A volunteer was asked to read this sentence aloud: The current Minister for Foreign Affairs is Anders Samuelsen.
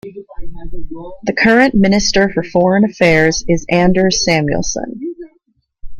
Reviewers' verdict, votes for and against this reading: rejected, 0, 2